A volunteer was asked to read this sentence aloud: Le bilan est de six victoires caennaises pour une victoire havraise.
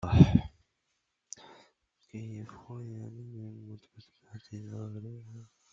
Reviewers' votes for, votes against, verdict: 0, 2, rejected